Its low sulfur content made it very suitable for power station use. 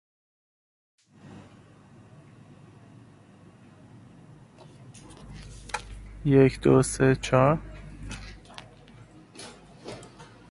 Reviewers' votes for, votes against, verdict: 0, 2, rejected